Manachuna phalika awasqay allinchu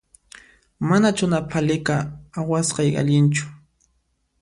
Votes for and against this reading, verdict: 2, 0, accepted